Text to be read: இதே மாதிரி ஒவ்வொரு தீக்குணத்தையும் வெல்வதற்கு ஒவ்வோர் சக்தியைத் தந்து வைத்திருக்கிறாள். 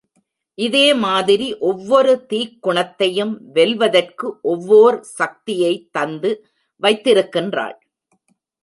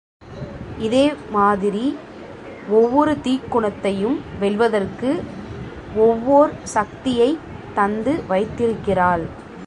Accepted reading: second